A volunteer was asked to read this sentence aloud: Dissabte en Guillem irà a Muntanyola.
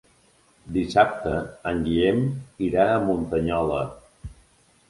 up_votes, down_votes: 4, 0